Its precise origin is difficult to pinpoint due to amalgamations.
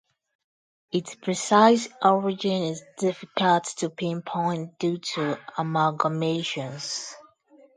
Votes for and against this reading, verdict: 2, 0, accepted